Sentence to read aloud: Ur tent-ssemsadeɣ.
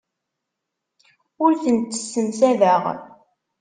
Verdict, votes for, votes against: accepted, 2, 0